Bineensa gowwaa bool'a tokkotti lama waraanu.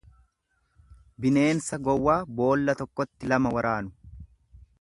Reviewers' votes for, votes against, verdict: 1, 2, rejected